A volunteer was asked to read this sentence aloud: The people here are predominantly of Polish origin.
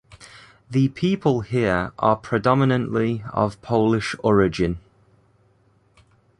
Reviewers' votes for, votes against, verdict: 2, 0, accepted